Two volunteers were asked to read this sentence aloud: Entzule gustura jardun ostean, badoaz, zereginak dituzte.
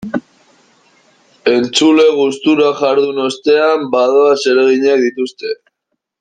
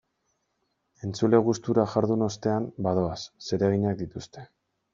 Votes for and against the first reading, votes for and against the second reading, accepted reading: 0, 2, 2, 0, second